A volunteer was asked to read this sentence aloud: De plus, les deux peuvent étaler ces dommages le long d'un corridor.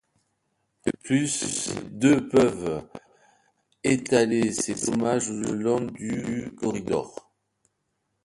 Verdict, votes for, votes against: rejected, 1, 2